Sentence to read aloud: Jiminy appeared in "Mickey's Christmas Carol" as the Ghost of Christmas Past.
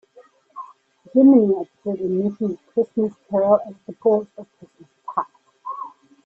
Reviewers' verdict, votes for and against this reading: rejected, 1, 2